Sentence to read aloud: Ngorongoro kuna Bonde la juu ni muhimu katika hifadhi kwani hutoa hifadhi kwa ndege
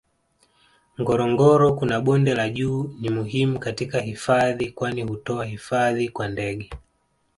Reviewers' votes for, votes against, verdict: 2, 1, accepted